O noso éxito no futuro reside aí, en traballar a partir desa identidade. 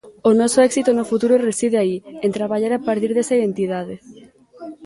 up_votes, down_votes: 2, 0